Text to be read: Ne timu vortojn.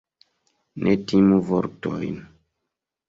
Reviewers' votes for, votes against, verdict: 2, 0, accepted